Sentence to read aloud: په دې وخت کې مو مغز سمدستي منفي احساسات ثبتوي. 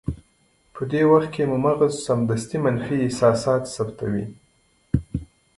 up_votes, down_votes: 2, 0